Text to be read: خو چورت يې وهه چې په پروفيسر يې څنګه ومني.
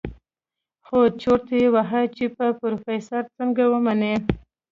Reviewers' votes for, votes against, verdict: 2, 0, accepted